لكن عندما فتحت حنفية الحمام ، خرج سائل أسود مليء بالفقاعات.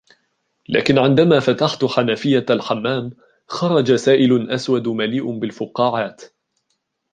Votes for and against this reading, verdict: 0, 2, rejected